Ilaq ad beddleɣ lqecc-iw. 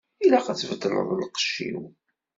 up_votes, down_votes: 0, 2